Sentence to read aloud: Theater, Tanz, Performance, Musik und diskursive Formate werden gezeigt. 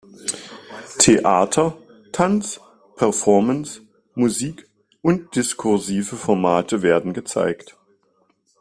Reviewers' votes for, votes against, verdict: 2, 0, accepted